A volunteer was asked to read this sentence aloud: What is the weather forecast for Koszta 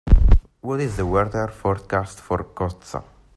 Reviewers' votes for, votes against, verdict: 2, 1, accepted